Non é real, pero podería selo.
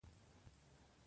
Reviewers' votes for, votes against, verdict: 0, 3, rejected